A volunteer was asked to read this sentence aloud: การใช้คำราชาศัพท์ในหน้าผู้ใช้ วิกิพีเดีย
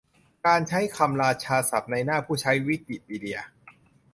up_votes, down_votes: 2, 0